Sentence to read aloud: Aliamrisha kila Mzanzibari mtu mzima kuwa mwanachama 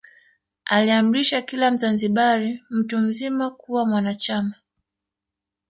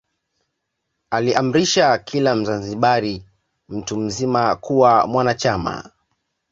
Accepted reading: second